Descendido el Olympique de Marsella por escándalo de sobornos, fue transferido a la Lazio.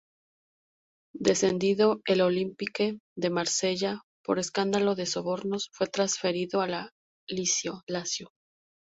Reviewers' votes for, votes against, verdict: 0, 2, rejected